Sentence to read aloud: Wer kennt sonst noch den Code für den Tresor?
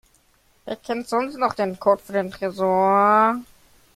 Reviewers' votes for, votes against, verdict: 0, 2, rejected